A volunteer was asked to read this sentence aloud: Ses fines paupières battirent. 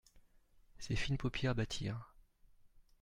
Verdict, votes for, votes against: accepted, 2, 0